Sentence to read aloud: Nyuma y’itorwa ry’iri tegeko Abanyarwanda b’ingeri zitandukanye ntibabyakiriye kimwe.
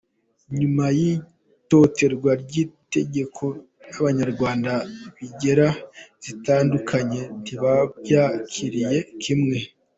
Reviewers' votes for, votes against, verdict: 1, 2, rejected